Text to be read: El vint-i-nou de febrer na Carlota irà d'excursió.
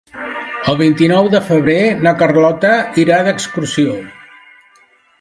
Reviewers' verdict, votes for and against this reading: accepted, 2, 1